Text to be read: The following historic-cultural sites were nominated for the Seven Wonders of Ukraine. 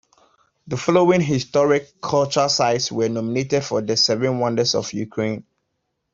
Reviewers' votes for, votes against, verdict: 2, 0, accepted